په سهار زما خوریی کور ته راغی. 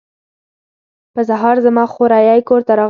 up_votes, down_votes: 2, 0